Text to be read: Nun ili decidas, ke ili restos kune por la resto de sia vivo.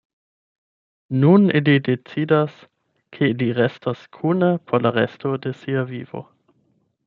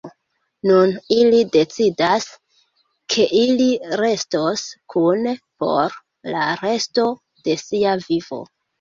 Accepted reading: first